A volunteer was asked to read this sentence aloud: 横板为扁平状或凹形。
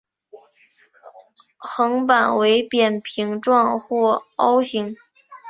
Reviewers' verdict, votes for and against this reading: accepted, 3, 0